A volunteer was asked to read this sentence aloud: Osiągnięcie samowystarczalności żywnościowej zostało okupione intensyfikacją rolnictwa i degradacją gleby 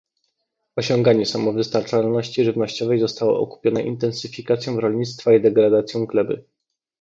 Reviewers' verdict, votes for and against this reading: rejected, 0, 2